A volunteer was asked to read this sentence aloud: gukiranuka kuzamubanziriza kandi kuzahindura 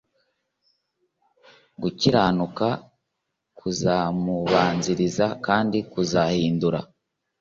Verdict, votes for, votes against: accepted, 2, 0